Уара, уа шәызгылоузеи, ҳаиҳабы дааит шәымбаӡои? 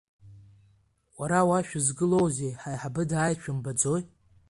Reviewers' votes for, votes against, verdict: 2, 0, accepted